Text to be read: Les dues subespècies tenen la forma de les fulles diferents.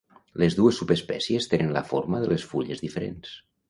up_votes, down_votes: 2, 0